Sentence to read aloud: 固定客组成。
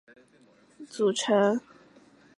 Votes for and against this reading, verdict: 0, 2, rejected